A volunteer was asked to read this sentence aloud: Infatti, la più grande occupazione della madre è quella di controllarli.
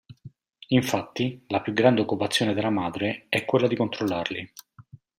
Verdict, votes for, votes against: accepted, 2, 0